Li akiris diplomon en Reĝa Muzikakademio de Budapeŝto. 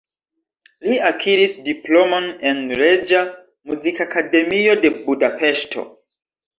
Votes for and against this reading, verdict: 1, 2, rejected